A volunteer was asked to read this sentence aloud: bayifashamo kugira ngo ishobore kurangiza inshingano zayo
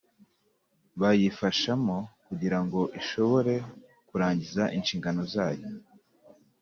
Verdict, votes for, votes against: accepted, 2, 0